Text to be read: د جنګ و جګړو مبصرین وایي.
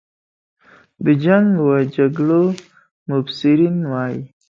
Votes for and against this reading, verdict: 3, 1, accepted